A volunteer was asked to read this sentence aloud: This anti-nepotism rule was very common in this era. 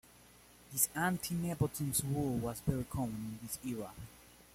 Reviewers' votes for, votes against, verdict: 1, 2, rejected